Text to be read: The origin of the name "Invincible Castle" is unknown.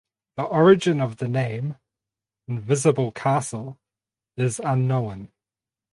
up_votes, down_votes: 0, 2